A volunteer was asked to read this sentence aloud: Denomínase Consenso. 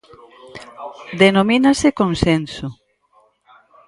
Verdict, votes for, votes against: rejected, 2, 4